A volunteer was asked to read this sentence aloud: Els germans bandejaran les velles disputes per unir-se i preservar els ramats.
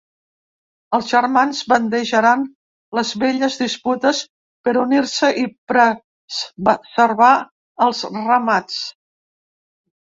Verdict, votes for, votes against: rejected, 0, 3